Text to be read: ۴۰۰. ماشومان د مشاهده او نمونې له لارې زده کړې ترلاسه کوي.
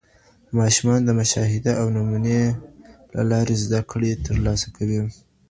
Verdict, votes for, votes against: rejected, 0, 2